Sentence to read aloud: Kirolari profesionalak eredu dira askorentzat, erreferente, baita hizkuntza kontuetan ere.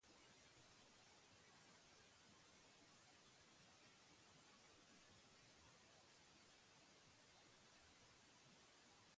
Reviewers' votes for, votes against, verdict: 0, 6, rejected